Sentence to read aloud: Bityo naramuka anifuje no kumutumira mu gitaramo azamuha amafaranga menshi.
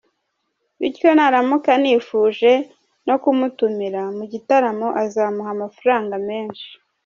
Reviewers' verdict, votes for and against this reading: rejected, 1, 2